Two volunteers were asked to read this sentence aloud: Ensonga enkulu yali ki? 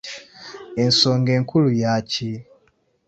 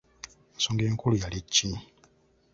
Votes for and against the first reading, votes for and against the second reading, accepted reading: 0, 2, 2, 1, second